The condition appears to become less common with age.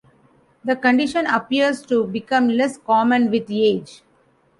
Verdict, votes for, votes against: accepted, 2, 1